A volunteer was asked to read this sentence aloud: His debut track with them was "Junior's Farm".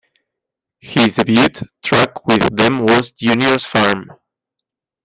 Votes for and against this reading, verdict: 0, 2, rejected